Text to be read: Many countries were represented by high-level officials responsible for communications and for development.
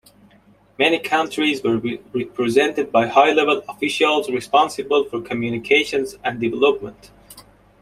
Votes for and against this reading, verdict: 0, 2, rejected